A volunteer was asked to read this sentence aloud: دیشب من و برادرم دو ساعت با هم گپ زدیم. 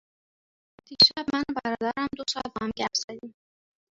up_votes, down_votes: 0, 2